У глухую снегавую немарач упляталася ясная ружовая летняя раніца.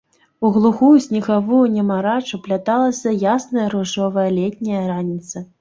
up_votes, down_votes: 0, 2